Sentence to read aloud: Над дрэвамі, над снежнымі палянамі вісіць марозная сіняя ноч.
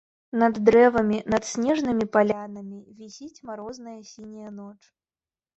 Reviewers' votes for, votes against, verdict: 2, 0, accepted